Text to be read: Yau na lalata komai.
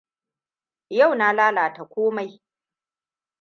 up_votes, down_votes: 2, 0